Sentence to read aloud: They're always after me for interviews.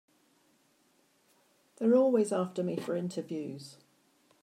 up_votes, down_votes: 2, 1